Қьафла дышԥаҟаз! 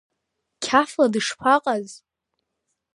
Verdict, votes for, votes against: accepted, 2, 0